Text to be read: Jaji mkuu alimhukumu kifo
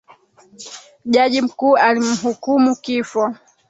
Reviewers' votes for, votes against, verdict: 2, 1, accepted